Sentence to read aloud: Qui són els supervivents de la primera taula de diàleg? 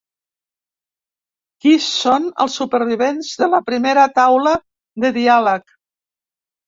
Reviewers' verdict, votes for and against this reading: rejected, 0, 2